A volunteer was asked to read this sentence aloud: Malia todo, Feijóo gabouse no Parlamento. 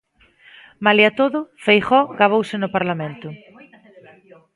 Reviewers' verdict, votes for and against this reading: rejected, 1, 2